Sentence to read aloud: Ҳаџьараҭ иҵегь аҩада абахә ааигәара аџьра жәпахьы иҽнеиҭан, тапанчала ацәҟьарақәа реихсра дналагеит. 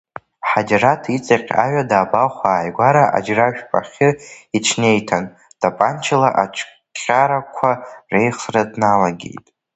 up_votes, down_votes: 0, 2